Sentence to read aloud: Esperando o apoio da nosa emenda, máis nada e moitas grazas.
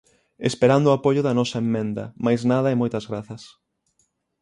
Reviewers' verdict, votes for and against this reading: rejected, 0, 6